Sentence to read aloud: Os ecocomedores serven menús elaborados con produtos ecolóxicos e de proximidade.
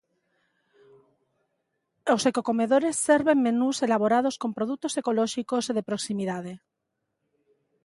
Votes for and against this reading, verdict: 2, 0, accepted